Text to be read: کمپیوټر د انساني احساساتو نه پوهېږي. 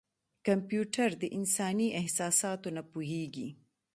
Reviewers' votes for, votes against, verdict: 2, 0, accepted